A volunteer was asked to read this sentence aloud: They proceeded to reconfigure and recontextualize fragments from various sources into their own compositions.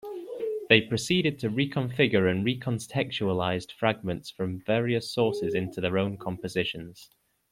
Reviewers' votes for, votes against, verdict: 2, 0, accepted